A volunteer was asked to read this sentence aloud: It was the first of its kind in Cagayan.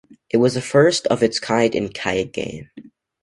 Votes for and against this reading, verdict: 1, 2, rejected